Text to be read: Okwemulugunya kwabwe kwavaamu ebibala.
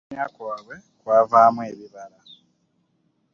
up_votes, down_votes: 0, 2